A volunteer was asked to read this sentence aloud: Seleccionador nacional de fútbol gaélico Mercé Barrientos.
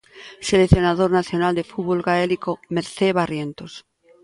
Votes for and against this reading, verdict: 2, 0, accepted